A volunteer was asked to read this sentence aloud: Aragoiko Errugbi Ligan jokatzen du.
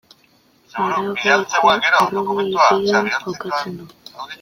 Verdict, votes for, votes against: rejected, 0, 2